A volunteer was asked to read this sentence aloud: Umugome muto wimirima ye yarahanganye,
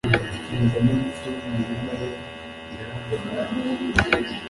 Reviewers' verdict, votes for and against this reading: rejected, 0, 2